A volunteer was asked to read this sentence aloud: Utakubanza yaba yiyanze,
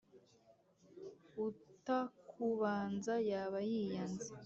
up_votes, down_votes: 2, 0